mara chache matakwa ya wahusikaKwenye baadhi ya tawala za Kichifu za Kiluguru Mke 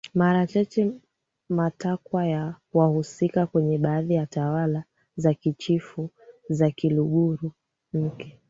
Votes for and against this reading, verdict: 2, 0, accepted